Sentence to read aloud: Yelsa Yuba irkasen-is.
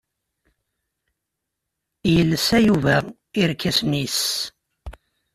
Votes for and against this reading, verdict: 2, 0, accepted